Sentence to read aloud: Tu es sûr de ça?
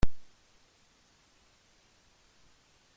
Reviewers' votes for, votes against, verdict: 0, 2, rejected